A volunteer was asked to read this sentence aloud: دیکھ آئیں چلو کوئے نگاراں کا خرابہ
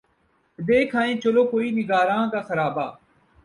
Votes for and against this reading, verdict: 6, 0, accepted